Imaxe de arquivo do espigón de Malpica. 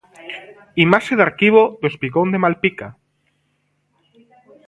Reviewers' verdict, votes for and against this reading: rejected, 0, 2